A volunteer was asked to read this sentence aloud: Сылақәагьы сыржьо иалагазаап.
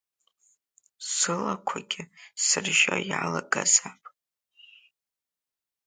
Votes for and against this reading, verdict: 3, 0, accepted